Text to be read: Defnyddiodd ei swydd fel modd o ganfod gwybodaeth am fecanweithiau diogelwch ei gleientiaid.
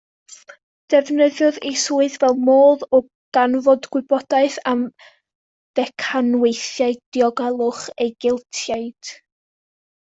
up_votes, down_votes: 0, 2